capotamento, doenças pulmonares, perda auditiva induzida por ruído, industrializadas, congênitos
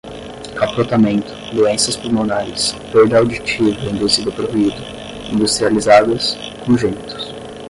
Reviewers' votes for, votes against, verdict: 0, 5, rejected